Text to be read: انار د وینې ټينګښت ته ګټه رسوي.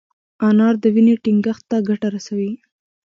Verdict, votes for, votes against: accepted, 2, 0